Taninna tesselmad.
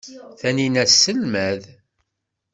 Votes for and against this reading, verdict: 2, 0, accepted